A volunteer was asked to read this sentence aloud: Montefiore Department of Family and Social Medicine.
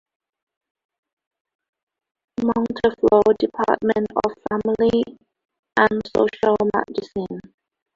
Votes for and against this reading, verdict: 2, 0, accepted